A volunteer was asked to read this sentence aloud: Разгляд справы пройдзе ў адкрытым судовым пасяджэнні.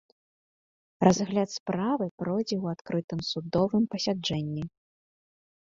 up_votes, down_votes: 2, 0